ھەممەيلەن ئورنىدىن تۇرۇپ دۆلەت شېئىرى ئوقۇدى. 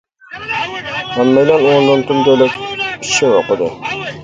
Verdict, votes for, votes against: rejected, 0, 2